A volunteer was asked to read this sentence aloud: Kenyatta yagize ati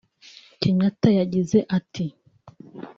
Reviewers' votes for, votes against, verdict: 2, 0, accepted